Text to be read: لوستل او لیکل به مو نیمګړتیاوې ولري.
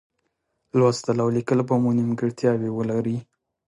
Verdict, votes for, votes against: accepted, 2, 0